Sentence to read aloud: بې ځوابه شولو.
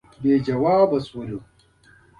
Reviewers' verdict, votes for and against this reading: accepted, 2, 0